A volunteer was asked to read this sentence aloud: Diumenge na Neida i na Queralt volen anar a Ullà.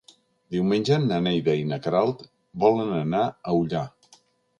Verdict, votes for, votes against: accepted, 3, 0